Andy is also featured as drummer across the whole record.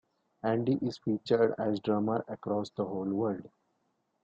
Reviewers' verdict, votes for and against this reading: rejected, 0, 2